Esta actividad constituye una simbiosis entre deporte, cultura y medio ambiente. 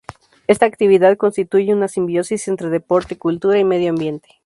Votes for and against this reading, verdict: 2, 0, accepted